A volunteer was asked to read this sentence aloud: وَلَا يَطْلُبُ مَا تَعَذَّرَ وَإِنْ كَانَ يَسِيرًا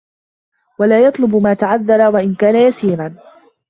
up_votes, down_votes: 2, 1